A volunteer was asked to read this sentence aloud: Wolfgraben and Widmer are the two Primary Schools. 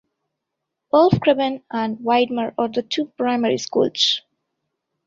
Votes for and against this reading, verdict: 2, 0, accepted